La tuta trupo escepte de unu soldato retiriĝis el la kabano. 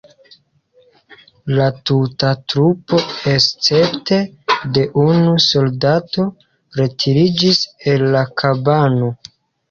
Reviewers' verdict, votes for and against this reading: accepted, 2, 1